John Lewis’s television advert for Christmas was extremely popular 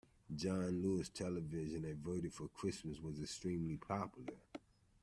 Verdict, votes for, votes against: rejected, 0, 2